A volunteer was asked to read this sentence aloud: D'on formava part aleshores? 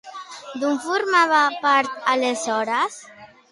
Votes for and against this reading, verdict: 2, 0, accepted